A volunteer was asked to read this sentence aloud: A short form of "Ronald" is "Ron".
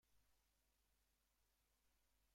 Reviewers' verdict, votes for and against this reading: rejected, 0, 2